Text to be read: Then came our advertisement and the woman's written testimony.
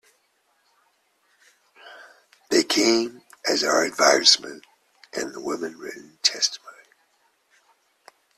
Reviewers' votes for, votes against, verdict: 0, 2, rejected